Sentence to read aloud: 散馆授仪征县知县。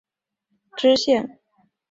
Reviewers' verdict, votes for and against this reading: rejected, 0, 6